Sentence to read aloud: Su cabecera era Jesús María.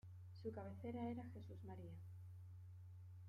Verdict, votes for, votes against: accepted, 2, 0